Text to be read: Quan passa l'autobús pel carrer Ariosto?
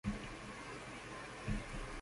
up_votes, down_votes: 0, 2